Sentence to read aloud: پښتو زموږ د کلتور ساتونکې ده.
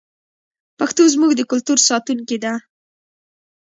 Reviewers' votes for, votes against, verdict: 0, 2, rejected